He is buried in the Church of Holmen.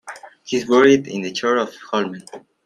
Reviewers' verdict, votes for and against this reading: rejected, 0, 2